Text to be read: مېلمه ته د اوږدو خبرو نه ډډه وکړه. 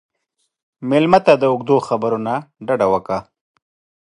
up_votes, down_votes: 2, 0